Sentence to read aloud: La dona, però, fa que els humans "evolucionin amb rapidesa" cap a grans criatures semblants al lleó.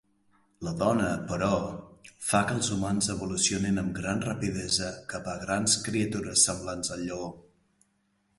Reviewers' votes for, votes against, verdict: 0, 3, rejected